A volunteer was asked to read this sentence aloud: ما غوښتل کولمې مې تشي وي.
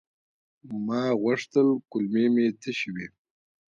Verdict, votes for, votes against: accepted, 2, 0